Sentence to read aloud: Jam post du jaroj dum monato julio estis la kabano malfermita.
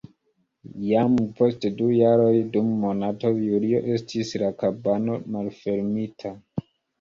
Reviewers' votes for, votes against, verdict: 3, 0, accepted